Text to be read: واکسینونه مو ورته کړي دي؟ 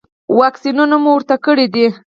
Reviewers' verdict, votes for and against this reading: rejected, 2, 4